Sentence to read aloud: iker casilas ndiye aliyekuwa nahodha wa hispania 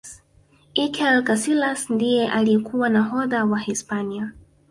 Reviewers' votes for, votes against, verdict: 1, 2, rejected